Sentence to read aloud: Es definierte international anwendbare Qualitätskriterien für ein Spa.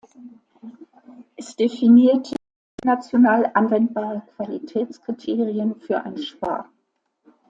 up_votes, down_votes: 1, 2